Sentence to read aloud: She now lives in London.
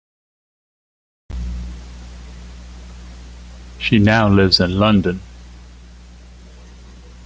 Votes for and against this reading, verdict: 2, 1, accepted